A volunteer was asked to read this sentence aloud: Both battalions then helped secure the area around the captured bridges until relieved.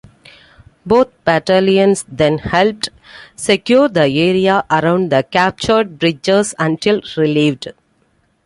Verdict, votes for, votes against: accepted, 2, 0